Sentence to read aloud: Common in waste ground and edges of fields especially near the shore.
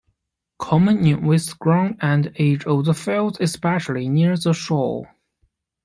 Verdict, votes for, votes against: rejected, 0, 2